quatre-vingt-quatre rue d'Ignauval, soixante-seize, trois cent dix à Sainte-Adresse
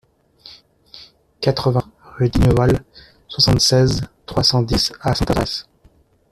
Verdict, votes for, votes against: rejected, 0, 2